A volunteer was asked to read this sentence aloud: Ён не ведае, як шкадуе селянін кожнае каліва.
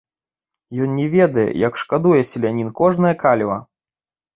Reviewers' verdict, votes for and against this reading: accepted, 2, 0